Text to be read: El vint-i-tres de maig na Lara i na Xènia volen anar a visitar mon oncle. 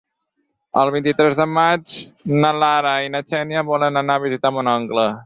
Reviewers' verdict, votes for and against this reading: accepted, 6, 0